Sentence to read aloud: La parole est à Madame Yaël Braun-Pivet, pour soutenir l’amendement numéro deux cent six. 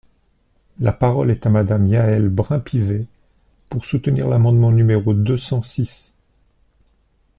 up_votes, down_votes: 0, 2